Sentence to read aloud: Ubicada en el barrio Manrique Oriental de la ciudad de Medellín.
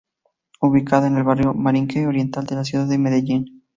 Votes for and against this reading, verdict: 0, 4, rejected